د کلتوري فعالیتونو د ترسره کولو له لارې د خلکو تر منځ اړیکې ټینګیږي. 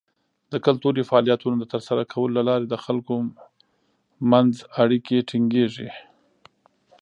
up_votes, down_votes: 1, 2